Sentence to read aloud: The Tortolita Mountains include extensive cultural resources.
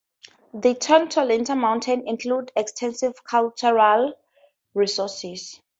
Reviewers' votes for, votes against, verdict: 2, 0, accepted